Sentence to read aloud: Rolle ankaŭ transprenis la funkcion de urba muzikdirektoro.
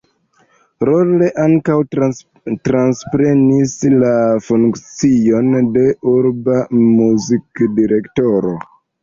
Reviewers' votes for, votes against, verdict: 0, 2, rejected